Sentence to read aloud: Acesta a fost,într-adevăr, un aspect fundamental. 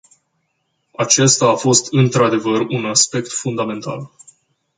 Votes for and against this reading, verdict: 2, 0, accepted